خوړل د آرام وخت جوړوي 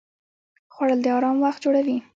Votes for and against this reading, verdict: 0, 2, rejected